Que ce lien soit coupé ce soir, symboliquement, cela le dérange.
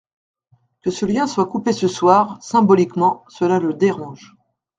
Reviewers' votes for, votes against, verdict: 2, 0, accepted